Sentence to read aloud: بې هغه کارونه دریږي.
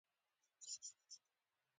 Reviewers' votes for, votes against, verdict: 1, 2, rejected